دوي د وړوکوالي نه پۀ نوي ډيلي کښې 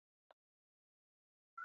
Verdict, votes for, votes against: rejected, 1, 2